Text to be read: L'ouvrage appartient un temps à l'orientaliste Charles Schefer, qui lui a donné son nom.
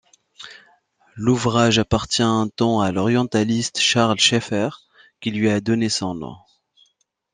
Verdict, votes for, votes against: accepted, 2, 0